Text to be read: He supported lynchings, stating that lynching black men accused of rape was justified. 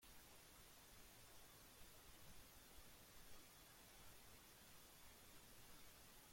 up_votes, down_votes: 0, 2